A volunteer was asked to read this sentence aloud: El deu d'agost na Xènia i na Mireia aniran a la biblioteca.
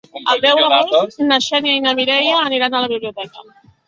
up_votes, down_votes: 0, 2